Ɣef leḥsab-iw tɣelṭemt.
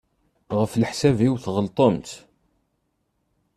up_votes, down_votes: 2, 0